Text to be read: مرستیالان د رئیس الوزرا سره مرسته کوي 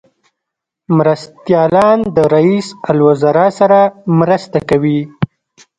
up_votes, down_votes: 1, 2